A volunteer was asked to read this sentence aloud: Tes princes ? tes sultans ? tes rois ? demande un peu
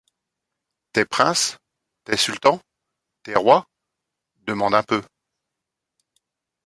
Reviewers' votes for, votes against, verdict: 2, 0, accepted